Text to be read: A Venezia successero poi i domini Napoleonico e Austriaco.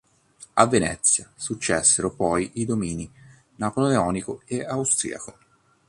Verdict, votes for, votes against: accepted, 2, 0